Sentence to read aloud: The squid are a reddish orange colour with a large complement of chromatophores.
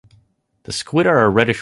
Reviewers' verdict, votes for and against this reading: rejected, 0, 2